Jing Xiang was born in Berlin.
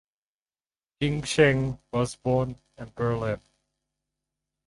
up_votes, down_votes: 0, 4